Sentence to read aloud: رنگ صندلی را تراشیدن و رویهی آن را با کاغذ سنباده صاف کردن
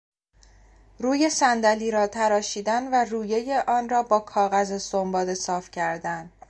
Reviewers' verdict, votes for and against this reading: rejected, 2, 3